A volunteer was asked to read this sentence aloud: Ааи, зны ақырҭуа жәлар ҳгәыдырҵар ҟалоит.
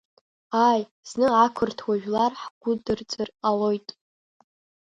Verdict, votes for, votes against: rejected, 0, 2